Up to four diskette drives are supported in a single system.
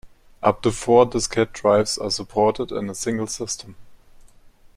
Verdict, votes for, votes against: accepted, 2, 0